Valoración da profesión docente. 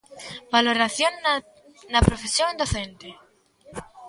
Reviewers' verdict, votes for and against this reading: rejected, 0, 2